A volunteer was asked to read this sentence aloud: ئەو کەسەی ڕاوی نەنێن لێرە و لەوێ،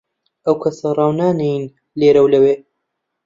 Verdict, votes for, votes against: rejected, 0, 2